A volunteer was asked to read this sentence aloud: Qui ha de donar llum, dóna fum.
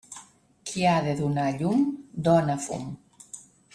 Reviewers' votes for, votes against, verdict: 3, 0, accepted